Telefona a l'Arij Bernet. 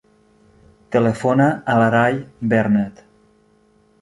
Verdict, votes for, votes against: rejected, 0, 2